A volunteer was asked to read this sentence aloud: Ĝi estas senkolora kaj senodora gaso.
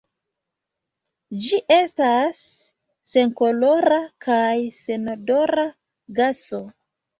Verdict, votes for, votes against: accepted, 2, 1